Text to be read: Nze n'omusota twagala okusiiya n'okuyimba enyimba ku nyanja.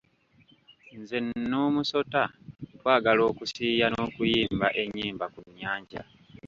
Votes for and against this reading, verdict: 1, 2, rejected